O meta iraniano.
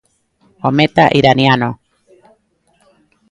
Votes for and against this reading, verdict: 2, 0, accepted